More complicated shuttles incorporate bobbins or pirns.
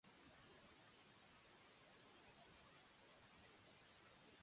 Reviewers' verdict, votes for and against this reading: rejected, 0, 2